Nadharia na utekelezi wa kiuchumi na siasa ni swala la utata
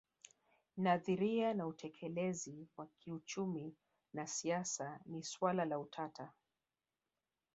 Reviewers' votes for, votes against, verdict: 0, 3, rejected